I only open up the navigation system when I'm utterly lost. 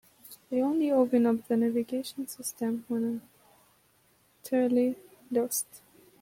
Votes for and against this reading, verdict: 0, 2, rejected